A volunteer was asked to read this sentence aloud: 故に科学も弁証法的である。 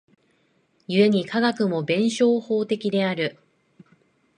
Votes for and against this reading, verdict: 2, 0, accepted